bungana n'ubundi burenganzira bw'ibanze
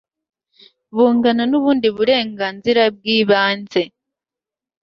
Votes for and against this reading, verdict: 2, 0, accepted